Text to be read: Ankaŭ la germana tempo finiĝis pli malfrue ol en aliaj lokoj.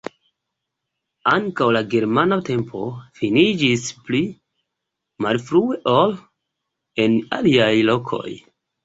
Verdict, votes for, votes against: rejected, 1, 2